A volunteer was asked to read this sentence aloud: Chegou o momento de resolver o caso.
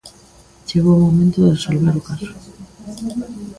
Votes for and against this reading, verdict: 1, 2, rejected